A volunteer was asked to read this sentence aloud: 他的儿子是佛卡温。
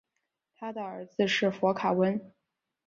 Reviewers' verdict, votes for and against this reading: accepted, 2, 0